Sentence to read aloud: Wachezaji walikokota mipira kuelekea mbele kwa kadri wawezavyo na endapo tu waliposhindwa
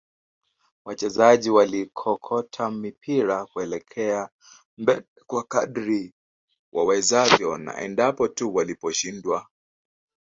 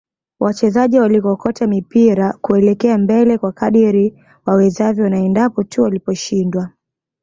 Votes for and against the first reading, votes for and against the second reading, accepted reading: 0, 2, 2, 0, second